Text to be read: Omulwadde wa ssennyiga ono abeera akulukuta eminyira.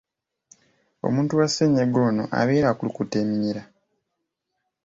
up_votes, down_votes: 1, 2